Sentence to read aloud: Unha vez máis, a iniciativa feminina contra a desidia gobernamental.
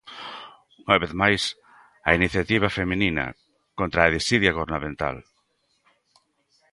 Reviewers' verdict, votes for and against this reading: rejected, 1, 2